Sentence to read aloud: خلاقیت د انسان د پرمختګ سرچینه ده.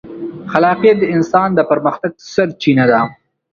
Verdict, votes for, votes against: rejected, 1, 2